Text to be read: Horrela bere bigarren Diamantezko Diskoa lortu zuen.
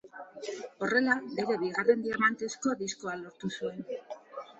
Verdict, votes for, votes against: rejected, 1, 2